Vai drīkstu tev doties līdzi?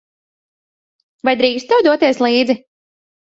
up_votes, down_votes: 1, 2